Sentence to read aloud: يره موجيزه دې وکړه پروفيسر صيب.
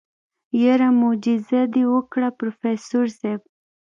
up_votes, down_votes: 2, 0